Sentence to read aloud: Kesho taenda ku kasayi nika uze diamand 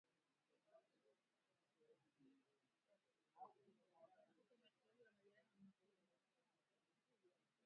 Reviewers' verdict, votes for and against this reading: rejected, 0, 2